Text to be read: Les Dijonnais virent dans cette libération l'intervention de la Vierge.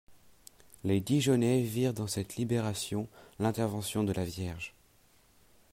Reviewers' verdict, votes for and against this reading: accepted, 2, 0